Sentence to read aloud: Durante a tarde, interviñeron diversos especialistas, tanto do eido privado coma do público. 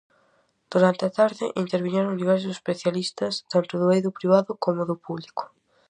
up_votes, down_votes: 4, 0